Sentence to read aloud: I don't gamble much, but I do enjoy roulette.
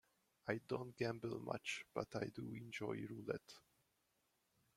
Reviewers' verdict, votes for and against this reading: accepted, 2, 0